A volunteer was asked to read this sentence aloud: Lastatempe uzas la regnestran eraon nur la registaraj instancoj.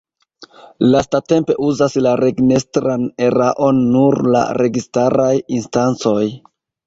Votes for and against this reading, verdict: 2, 1, accepted